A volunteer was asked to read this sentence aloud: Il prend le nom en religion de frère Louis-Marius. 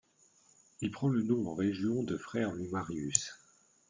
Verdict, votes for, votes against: rejected, 1, 2